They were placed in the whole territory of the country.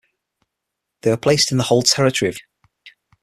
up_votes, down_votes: 0, 6